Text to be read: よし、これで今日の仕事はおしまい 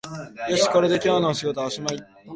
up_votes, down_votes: 2, 0